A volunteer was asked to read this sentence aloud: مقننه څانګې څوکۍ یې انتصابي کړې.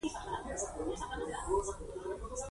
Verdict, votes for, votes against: rejected, 1, 2